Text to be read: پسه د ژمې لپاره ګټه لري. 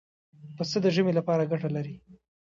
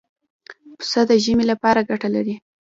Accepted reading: first